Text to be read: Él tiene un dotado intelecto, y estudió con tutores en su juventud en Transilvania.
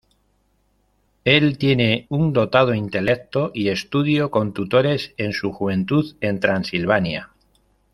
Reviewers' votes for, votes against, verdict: 1, 2, rejected